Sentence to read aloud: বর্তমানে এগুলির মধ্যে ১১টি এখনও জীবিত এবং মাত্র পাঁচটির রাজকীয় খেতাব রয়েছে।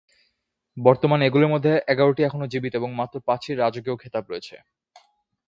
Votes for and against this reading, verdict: 0, 2, rejected